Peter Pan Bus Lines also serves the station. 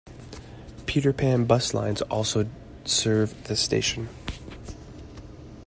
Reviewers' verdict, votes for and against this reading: rejected, 0, 2